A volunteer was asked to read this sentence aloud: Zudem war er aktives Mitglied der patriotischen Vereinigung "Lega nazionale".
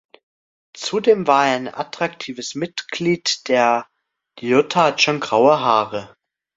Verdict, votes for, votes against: rejected, 0, 2